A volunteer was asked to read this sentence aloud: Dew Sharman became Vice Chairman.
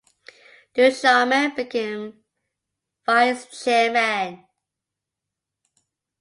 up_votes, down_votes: 1, 2